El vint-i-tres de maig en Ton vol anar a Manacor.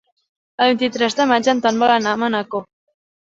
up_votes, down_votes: 3, 0